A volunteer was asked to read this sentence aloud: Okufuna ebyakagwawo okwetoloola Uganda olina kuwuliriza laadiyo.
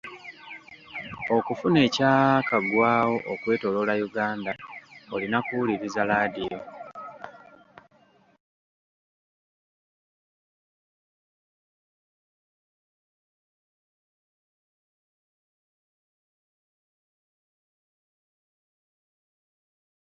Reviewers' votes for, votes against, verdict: 0, 2, rejected